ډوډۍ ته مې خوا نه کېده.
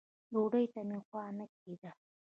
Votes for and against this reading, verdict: 1, 2, rejected